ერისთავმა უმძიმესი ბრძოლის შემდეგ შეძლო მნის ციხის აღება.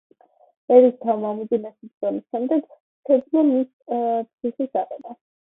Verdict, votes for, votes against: rejected, 1, 2